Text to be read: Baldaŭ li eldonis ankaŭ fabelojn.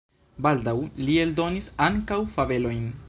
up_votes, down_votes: 2, 0